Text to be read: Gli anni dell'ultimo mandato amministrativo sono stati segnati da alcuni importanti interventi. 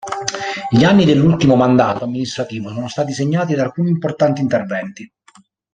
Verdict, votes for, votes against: rejected, 1, 2